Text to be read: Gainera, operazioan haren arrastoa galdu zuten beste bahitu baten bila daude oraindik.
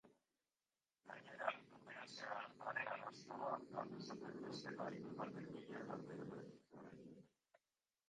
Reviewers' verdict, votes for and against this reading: rejected, 0, 2